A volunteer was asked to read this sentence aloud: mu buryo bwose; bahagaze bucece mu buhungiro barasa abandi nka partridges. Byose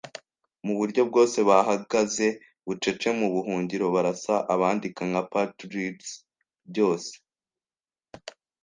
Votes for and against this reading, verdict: 1, 2, rejected